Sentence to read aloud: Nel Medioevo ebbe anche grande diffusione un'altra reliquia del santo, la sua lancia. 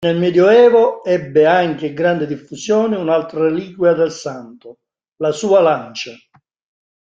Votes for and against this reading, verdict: 2, 1, accepted